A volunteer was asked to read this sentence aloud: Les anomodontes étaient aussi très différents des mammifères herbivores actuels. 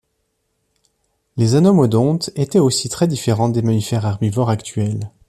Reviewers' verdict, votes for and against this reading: accepted, 2, 0